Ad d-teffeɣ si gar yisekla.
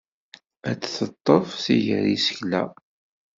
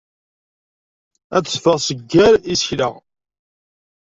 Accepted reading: second